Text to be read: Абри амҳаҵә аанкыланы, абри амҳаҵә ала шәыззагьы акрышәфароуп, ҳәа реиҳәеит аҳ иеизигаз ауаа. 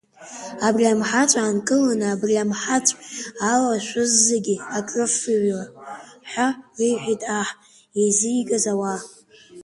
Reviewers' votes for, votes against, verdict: 0, 2, rejected